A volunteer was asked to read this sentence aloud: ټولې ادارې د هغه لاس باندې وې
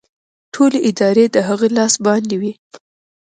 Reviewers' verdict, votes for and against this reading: accepted, 2, 1